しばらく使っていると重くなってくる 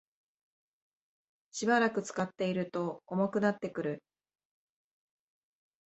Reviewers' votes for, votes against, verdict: 2, 0, accepted